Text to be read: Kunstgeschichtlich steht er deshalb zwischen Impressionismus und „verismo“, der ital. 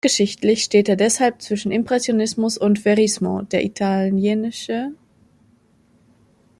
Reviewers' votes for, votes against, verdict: 1, 2, rejected